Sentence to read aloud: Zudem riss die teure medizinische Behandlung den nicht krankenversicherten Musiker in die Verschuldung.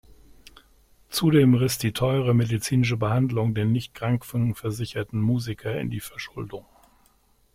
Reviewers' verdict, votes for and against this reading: rejected, 0, 2